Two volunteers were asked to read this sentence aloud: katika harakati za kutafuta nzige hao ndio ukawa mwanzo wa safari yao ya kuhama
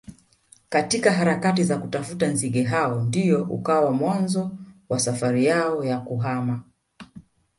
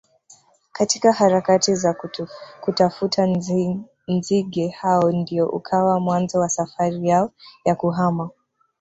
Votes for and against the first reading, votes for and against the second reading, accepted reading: 2, 0, 1, 2, first